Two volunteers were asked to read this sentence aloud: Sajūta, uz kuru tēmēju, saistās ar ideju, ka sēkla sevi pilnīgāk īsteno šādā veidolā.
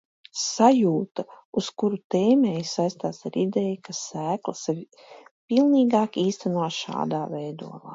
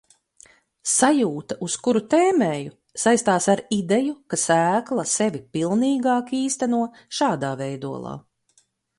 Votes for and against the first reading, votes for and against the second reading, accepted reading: 1, 2, 2, 0, second